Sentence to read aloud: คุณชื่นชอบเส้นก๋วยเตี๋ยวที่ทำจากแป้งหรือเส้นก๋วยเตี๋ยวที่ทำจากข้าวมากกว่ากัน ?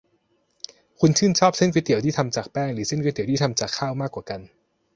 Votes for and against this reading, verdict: 2, 0, accepted